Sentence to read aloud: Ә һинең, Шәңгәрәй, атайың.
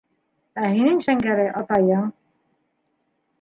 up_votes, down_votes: 3, 1